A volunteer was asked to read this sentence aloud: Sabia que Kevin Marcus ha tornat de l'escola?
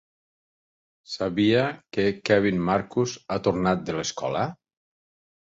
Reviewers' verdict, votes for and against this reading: accepted, 4, 0